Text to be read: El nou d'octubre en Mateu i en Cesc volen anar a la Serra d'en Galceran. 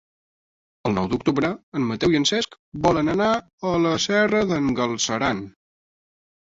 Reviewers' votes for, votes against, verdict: 1, 2, rejected